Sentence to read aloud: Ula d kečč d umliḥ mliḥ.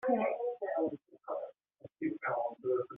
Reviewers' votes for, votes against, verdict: 1, 2, rejected